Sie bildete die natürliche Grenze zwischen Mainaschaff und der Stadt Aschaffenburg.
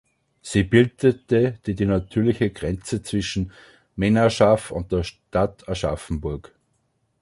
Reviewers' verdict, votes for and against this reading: rejected, 0, 2